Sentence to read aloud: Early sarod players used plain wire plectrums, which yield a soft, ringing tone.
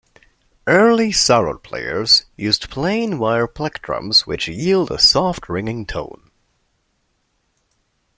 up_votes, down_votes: 2, 0